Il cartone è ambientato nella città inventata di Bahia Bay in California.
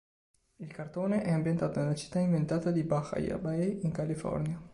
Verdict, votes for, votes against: accepted, 2, 1